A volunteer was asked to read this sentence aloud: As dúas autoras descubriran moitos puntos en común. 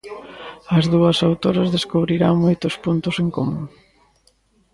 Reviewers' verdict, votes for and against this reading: accepted, 2, 0